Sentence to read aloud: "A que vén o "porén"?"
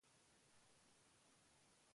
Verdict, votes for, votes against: rejected, 0, 2